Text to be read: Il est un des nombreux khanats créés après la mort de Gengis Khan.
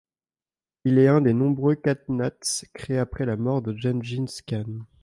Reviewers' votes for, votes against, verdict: 1, 2, rejected